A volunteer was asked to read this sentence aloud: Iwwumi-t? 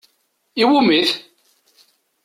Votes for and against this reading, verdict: 2, 0, accepted